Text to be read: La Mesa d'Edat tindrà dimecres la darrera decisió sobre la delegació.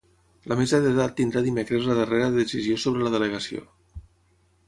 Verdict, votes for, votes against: rejected, 3, 3